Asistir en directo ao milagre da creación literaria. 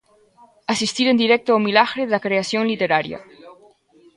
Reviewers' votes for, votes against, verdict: 2, 1, accepted